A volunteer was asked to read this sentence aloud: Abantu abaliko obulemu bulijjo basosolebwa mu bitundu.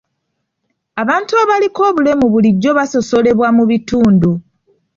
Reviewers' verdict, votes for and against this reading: accepted, 2, 0